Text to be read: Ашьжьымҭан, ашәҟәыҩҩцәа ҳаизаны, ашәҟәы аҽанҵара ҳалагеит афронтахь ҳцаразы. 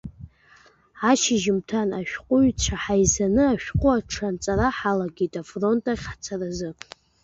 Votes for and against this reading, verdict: 0, 2, rejected